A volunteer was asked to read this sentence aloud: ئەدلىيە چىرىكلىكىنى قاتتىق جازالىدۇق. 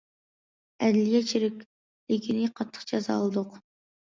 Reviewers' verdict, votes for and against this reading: rejected, 1, 2